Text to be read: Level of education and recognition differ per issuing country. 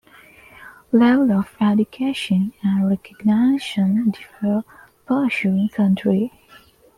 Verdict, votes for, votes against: rejected, 0, 2